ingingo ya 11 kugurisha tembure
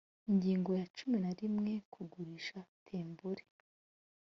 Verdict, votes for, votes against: rejected, 0, 2